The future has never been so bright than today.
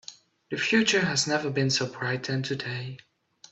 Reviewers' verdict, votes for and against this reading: accepted, 3, 0